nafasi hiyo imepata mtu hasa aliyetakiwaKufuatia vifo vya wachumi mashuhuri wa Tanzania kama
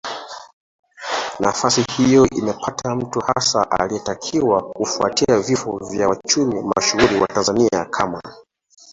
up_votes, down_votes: 0, 2